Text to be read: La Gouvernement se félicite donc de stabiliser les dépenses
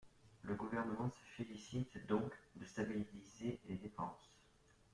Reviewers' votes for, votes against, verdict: 0, 2, rejected